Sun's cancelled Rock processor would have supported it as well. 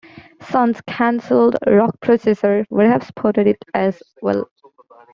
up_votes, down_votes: 2, 1